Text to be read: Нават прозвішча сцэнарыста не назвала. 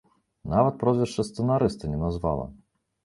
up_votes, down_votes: 2, 0